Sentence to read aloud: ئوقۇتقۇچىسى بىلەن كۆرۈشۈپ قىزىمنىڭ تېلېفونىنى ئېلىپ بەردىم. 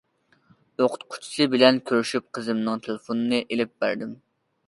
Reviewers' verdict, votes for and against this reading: accepted, 2, 0